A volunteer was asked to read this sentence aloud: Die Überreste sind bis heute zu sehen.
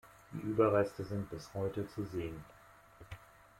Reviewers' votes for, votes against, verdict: 2, 1, accepted